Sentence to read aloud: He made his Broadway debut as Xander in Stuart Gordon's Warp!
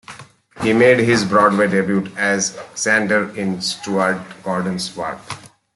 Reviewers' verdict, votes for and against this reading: accepted, 2, 1